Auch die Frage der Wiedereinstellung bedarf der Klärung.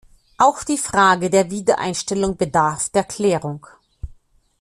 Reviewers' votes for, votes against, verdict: 2, 0, accepted